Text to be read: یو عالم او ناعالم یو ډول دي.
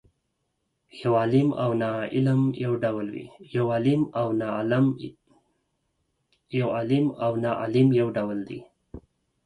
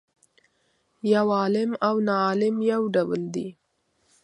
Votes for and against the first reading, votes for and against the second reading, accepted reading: 2, 4, 2, 0, second